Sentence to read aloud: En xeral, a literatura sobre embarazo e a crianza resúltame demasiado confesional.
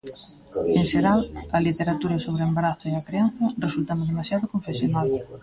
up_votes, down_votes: 1, 2